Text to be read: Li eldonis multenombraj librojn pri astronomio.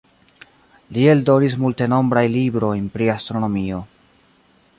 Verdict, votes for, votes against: accepted, 3, 2